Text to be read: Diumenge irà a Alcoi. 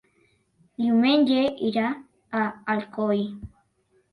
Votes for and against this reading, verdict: 3, 0, accepted